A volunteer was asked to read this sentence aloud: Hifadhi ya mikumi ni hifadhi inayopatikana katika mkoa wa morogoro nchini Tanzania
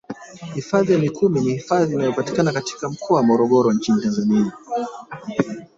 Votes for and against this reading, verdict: 2, 5, rejected